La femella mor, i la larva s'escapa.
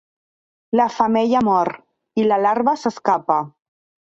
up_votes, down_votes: 3, 0